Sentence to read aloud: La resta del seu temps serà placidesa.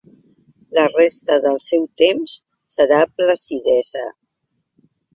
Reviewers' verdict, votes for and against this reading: accepted, 3, 0